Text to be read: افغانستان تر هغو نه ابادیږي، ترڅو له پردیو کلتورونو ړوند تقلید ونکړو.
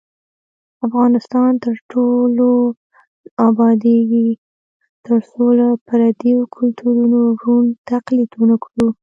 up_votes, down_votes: 1, 2